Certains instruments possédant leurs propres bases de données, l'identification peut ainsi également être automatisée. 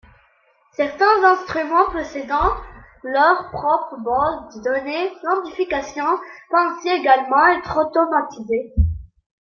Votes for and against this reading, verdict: 2, 3, rejected